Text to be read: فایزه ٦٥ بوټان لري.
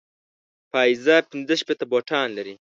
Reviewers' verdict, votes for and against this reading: rejected, 0, 2